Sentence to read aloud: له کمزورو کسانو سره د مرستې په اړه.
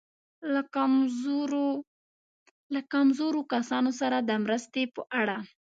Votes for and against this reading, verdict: 0, 2, rejected